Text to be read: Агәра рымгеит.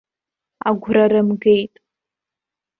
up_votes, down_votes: 2, 0